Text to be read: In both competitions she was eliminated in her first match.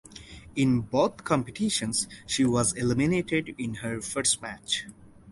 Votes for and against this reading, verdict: 2, 2, rejected